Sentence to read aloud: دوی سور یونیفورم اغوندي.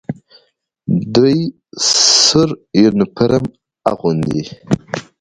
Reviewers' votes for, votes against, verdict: 2, 1, accepted